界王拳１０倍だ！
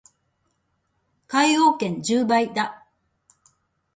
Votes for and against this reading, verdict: 0, 2, rejected